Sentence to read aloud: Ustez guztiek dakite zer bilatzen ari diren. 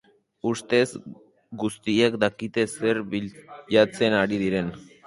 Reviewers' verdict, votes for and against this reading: rejected, 2, 4